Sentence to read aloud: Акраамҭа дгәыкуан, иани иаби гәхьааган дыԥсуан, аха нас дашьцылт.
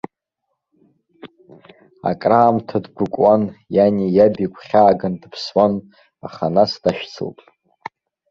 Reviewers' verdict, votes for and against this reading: rejected, 1, 3